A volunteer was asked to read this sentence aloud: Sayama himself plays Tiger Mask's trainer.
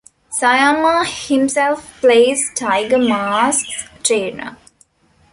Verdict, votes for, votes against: accepted, 2, 0